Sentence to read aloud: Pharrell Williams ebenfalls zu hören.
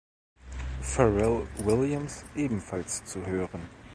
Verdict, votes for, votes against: accepted, 2, 0